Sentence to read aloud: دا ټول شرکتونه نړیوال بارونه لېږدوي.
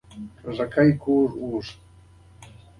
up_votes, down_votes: 2, 0